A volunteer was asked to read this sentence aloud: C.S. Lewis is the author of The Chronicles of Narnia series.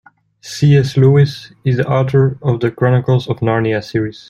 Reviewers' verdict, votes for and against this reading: rejected, 1, 2